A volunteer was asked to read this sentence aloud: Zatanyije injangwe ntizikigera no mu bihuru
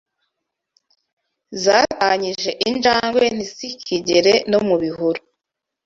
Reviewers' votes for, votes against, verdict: 0, 2, rejected